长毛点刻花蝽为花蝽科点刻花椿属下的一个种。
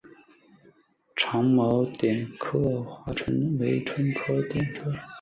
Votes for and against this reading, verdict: 1, 2, rejected